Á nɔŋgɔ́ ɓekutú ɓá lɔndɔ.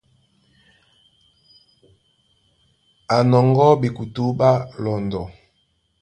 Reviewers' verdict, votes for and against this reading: rejected, 0, 2